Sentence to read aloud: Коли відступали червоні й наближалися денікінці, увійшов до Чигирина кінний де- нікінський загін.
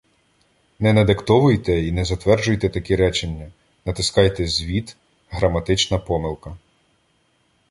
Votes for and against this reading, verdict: 0, 2, rejected